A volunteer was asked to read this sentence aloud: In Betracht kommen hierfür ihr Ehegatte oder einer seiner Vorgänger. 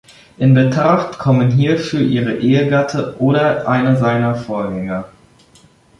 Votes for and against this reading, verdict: 0, 2, rejected